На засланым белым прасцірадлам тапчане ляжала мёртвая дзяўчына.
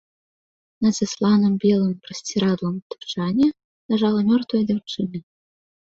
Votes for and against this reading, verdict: 2, 1, accepted